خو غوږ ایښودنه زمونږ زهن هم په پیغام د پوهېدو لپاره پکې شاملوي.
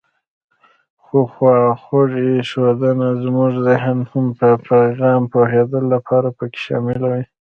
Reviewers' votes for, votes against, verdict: 1, 2, rejected